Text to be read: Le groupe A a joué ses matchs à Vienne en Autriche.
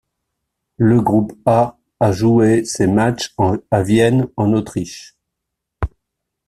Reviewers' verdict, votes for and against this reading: rejected, 0, 2